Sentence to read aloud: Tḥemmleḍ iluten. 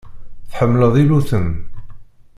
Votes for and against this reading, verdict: 2, 0, accepted